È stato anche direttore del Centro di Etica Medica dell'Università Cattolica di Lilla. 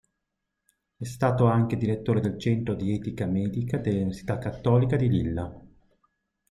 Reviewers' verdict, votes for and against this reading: accepted, 2, 1